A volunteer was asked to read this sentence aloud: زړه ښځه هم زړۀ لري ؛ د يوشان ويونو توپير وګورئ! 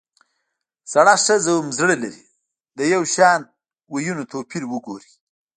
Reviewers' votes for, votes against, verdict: 1, 2, rejected